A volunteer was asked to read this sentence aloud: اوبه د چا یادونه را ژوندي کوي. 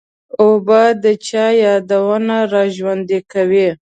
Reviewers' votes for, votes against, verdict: 0, 2, rejected